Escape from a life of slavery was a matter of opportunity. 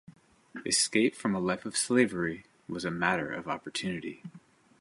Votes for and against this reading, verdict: 2, 0, accepted